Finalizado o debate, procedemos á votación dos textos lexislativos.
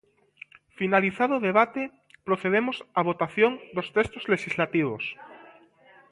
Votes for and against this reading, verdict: 2, 0, accepted